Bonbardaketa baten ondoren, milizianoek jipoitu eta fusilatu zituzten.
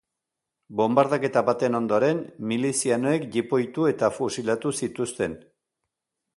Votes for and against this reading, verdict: 2, 0, accepted